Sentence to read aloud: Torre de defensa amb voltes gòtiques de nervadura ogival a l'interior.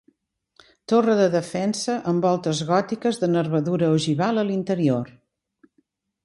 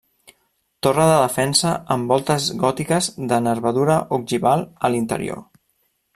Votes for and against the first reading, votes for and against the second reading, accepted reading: 2, 0, 1, 2, first